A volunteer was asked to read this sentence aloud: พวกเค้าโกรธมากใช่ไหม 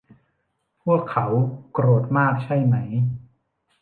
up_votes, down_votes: 0, 2